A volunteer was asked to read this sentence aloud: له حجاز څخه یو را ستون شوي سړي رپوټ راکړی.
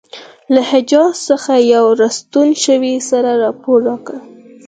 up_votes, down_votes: 4, 2